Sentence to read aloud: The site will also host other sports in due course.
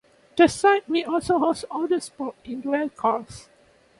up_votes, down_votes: 0, 2